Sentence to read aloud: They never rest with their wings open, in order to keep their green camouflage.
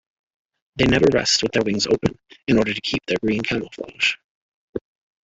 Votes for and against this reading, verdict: 2, 0, accepted